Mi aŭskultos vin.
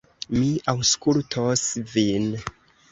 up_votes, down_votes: 0, 2